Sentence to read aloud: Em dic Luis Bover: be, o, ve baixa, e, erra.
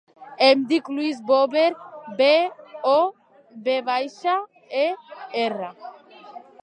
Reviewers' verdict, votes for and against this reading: accepted, 4, 1